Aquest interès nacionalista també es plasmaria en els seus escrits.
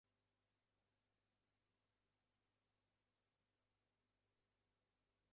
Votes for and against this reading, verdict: 0, 4, rejected